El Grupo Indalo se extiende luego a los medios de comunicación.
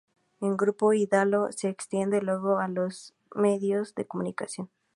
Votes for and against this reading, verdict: 2, 0, accepted